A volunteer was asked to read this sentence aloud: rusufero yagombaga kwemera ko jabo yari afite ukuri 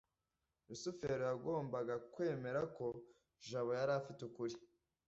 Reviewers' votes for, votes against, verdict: 2, 0, accepted